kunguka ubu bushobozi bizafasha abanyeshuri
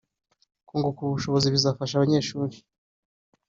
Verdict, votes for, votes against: accepted, 2, 0